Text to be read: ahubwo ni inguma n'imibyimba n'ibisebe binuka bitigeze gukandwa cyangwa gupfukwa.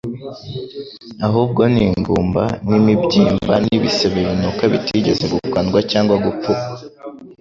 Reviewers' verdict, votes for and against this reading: accepted, 2, 0